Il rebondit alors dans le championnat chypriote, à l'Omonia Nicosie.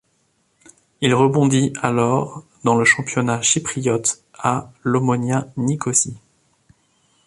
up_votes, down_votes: 1, 2